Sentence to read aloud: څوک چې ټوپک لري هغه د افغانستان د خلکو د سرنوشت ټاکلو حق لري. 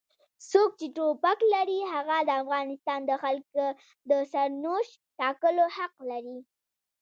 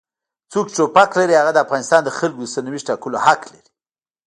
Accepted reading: first